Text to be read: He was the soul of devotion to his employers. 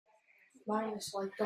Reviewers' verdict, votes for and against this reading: rejected, 0, 2